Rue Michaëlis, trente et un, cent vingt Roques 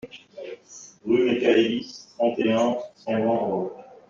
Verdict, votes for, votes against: rejected, 1, 2